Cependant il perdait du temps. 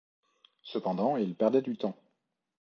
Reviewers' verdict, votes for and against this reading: accepted, 2, 0